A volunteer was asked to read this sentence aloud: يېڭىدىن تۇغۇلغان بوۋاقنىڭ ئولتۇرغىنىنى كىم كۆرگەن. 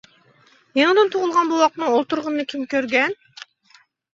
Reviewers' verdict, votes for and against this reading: accepted, 2, 1